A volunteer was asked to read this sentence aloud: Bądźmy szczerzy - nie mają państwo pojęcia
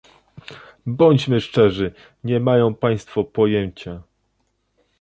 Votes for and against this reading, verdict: 2, 0, accepted